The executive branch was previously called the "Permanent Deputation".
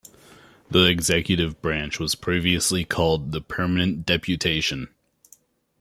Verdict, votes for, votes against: accepted, 2, 0